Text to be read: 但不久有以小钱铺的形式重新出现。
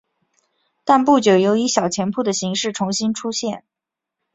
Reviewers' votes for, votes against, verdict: 9, 0, accepted